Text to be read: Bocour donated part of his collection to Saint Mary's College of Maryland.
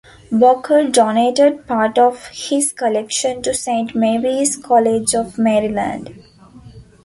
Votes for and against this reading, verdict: 2, 0, accepted